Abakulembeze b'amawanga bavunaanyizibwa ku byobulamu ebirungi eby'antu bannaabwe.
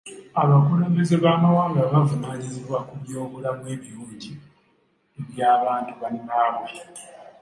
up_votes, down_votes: 1, 2